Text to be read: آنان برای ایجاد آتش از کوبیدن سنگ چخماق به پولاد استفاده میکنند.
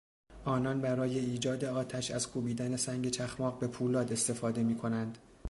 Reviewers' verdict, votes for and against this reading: accepted, 2, 0